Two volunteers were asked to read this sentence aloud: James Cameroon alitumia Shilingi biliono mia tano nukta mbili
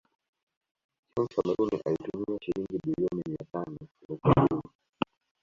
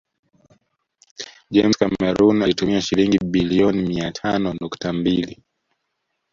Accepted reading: second